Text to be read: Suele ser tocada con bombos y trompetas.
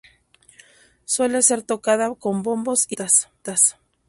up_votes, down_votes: 0, 2